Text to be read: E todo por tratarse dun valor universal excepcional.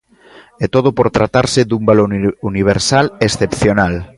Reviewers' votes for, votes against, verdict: 1, 3, rejected